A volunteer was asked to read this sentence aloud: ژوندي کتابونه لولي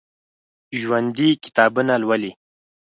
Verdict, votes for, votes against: accepted, 6, 0